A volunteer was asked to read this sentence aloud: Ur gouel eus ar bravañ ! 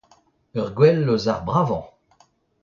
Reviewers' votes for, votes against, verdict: 0, 2, rejected